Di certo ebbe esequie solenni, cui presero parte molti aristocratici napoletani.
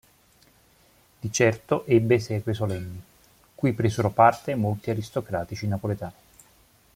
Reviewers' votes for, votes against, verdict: 2, 0, accepted